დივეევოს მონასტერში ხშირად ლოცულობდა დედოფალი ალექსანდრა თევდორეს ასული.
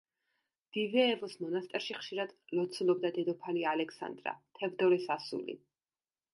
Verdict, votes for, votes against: accepted, 2, 0